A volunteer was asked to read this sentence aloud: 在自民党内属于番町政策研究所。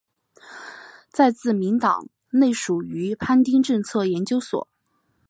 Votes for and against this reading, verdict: 5, 0, accepted